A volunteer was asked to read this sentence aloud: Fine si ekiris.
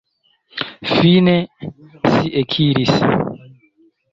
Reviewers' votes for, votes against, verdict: 2, 1, accepted